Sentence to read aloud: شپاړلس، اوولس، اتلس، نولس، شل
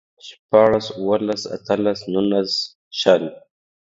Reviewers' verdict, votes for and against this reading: accepted, 2, 0